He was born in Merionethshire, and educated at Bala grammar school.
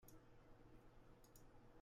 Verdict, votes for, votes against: rejected, 0, 2